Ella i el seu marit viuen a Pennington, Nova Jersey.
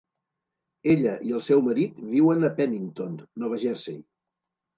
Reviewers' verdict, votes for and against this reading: accepted, 2, 0